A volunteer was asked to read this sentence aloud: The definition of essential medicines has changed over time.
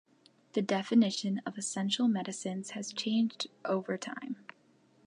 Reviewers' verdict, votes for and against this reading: accepted, 2, 0